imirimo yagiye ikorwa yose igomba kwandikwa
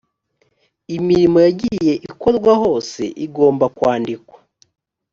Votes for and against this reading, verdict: 1, 2, rejected